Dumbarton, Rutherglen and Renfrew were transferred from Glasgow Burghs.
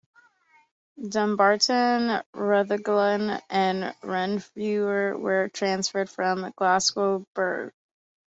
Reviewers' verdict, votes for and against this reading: accepted, 2, 0